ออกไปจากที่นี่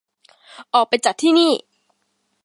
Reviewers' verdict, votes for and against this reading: accepted, 2, 0